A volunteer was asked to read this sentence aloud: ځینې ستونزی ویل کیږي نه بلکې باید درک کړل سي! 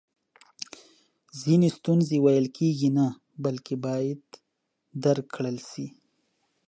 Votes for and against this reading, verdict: 2, 0, accepted